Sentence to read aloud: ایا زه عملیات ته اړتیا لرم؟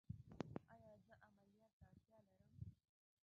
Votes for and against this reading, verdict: 1, 2, rejected